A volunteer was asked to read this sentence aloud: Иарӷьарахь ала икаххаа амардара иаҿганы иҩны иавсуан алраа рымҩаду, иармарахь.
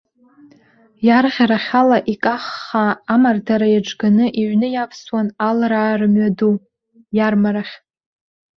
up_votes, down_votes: 1, 2